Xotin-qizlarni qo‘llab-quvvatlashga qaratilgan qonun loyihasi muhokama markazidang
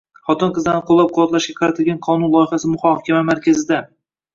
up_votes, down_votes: 1, 2